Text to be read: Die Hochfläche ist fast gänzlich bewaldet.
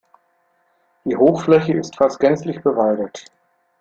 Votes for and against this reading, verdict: 2, 0, accepted